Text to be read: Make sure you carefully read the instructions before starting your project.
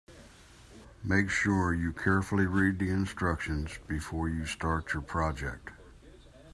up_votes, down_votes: 1, 2